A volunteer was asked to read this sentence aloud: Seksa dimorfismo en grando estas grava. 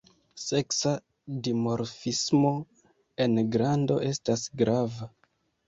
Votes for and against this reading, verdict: 2, 0, accepted